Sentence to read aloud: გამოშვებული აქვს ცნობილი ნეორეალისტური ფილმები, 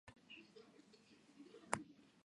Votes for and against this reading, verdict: 0, 2, rejected